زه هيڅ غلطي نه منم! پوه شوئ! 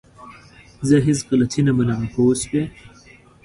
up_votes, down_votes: 3, 0